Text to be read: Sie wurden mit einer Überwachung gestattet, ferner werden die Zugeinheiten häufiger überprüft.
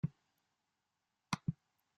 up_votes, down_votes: 1, 2